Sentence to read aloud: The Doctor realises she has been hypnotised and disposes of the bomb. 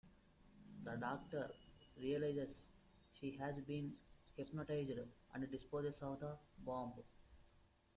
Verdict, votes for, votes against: rejected, 0, 2